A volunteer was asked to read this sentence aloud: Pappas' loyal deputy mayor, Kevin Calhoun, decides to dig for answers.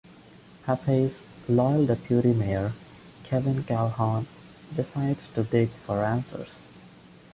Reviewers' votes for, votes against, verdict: 2, 0, accepted